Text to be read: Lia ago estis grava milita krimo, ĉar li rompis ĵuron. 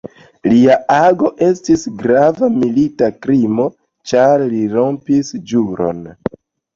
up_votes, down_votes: 1, 2